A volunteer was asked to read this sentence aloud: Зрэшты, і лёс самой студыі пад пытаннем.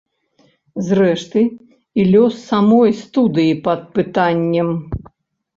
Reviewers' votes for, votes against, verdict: 2, 0, accepted